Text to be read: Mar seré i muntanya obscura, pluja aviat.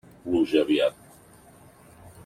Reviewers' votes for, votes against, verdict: 0, 2, rejected